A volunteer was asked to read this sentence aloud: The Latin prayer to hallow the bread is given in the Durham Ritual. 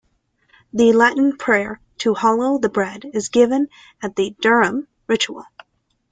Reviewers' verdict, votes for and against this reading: accepted, 2, 0